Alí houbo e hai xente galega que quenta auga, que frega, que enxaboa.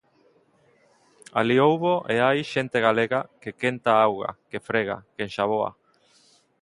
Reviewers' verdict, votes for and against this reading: accepted, 2, 0